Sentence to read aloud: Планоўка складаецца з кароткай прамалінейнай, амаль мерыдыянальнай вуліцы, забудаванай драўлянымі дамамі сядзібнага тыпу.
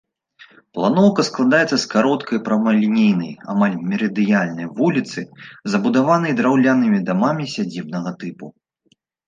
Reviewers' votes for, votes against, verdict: 2, 0, accepted